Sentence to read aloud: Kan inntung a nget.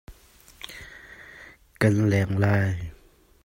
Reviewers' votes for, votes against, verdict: 0, 2, rejected